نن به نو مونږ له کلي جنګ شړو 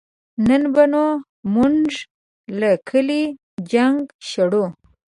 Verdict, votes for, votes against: accepted, 2, 0